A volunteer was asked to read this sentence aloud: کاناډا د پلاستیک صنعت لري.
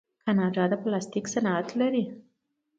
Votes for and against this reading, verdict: 2, 0, accepted